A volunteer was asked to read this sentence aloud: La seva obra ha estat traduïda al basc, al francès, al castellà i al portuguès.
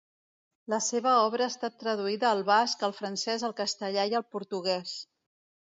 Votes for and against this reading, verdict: 2, 0, accepted